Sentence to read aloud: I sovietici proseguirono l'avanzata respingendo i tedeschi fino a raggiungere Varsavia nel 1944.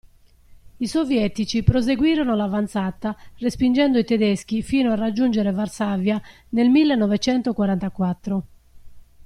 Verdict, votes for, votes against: rejected, 0, 2